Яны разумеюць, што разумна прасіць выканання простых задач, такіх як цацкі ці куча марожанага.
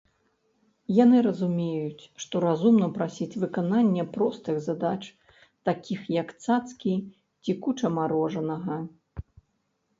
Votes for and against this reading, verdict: 2, 0, accepted